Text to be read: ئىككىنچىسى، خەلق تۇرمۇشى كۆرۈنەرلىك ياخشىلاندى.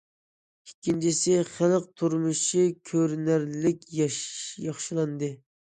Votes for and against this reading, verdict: 0, 2, rejected